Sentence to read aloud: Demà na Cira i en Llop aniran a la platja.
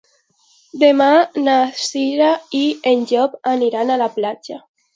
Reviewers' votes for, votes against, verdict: 2, 0, accepted